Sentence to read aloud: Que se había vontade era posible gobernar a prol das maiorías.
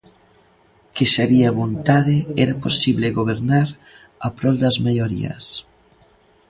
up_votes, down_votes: 0, 2